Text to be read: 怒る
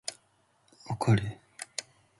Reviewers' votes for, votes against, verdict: 2, 0, accepted